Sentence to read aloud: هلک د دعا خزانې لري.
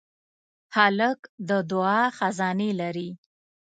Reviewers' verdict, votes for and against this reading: accepted, 2, 0